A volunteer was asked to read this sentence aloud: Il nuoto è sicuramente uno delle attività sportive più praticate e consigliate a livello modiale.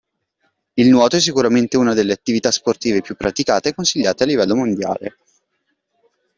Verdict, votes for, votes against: accepted, 2, 0